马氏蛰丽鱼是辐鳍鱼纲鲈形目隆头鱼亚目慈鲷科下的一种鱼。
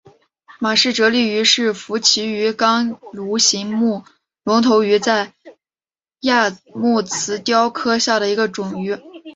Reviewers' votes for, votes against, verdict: 1, 2, rejected